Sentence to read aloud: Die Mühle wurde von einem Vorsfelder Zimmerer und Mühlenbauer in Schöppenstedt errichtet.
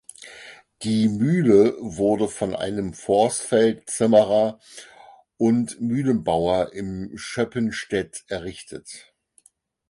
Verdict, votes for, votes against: rejected, 0, 4